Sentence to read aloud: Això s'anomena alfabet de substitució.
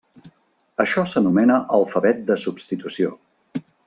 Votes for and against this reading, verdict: 3, 0, accepted